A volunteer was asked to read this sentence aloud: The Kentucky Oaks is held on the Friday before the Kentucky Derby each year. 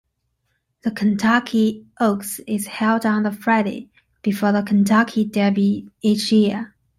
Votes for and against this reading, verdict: 2, 0, accepted